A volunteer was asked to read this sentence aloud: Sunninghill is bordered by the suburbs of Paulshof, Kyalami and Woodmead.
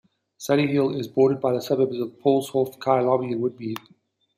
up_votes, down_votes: 1, 2